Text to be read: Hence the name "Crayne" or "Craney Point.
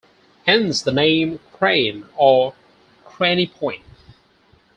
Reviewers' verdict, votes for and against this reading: accepted, 4, 0